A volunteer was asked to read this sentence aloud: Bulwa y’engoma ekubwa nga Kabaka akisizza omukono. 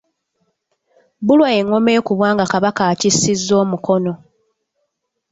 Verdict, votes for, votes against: rejected, 1, 2